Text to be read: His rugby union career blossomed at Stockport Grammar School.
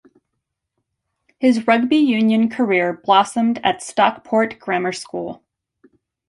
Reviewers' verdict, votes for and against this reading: accepted, 2, 1